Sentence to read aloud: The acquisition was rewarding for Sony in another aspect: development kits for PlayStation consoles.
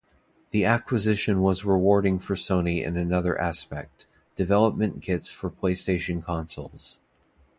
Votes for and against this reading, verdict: 2, 0, accepted